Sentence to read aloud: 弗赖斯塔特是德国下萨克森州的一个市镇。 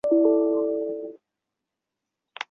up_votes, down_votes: 1, 3